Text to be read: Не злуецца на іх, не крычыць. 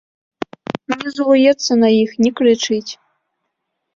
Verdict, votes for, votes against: rejected, 0, 2